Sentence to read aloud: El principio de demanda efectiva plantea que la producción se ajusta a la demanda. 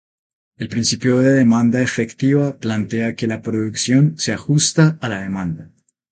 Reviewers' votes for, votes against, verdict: 2, 0, accepted